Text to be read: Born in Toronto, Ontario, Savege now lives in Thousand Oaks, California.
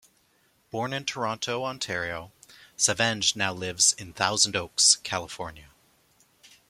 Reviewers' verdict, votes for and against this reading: rejected, 1, 2